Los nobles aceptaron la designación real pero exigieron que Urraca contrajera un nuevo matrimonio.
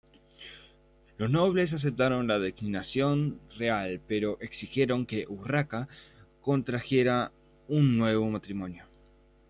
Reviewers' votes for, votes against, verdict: 0, 2, rejected